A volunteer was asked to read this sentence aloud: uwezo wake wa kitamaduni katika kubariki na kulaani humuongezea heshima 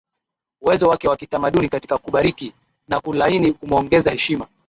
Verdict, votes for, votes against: rejected, 1, 2